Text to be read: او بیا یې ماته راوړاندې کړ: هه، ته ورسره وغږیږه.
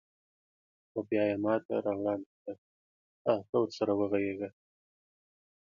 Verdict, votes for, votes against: rejected, 1, 2